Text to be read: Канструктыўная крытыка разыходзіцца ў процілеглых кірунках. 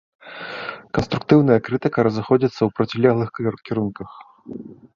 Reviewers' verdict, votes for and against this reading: rejected, 0, 2